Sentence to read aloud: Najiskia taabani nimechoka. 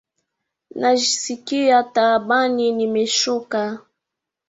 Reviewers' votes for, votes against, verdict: 0, 2, rejected